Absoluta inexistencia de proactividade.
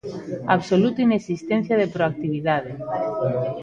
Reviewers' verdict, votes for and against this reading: rejected, 0, 2